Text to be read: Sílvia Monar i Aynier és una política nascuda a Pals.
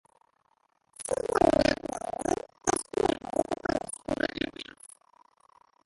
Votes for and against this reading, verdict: 0, 2, rejected